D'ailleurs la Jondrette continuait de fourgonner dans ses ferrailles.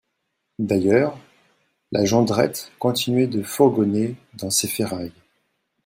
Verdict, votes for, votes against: accepted, 2, 0